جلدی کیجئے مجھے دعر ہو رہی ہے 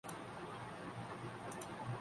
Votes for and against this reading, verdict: 1, 2, rejected